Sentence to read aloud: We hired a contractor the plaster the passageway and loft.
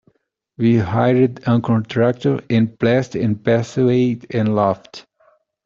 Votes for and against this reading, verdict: 0, 2, rejected